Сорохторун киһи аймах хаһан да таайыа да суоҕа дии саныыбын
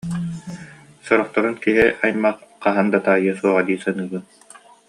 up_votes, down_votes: 2, 0